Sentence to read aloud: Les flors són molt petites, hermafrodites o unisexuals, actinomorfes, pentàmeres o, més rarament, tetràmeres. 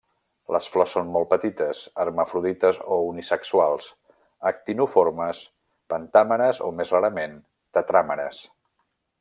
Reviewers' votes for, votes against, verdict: 1, 2, rejected